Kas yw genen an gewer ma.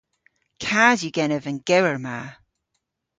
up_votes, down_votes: 1, 2